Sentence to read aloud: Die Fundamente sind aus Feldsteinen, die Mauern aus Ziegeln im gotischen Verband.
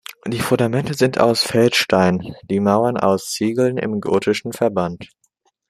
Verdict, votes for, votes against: accepted, 2, 1